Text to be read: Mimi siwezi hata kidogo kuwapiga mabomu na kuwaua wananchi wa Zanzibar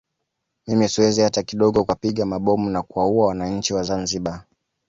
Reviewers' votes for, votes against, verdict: 2, 0, accepted